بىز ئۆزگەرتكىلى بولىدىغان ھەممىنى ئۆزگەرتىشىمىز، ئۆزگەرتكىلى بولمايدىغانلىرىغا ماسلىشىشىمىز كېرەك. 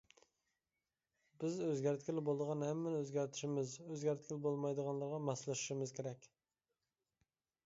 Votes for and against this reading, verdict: 2, 0, accepted